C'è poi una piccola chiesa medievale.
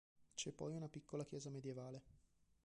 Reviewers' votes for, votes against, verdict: 2, 0, accepted